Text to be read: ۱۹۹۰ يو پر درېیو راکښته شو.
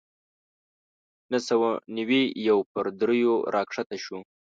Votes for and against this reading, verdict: 0, 2, rejected